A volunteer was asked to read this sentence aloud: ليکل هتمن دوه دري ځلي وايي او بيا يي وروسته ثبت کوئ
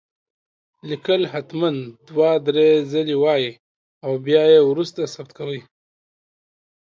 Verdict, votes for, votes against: accepted, 2, 0